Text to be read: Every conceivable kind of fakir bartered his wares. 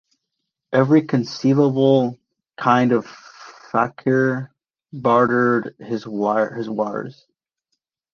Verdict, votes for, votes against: rejected, 1, 3